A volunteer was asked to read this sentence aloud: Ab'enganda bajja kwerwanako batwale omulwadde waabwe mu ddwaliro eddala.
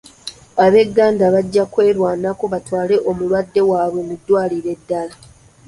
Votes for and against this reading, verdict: 2, 0, accepted